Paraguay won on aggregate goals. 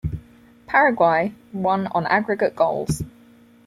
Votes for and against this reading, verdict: 4, 0, accepted